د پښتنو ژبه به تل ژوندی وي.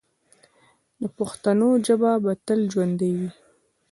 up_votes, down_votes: 2, 1